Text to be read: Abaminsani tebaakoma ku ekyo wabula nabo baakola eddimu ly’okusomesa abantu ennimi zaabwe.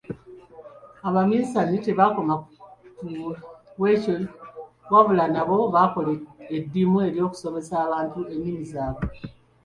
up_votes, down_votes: 3, 0